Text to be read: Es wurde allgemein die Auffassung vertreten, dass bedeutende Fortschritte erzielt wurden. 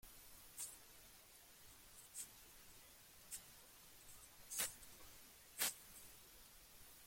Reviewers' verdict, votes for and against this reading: rejected, 0, 2